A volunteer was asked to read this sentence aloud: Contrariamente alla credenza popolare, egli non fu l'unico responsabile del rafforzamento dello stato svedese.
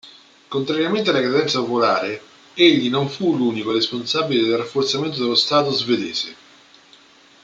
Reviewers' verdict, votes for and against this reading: accepted, 2, 0